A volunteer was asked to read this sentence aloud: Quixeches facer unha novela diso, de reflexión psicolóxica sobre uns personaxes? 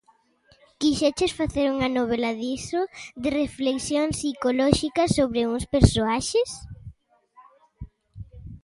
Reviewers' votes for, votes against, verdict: 1, 3, rejected